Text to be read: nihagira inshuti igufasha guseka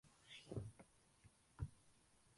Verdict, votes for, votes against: rejected, 0, 2